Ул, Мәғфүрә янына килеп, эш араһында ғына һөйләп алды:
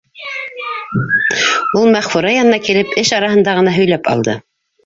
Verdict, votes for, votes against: rejected, 1, 2